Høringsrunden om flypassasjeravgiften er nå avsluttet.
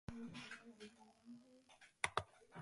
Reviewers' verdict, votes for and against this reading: rejected, 0, 2